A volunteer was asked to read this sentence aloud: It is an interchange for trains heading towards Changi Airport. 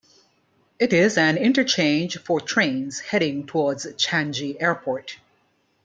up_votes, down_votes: 2, 1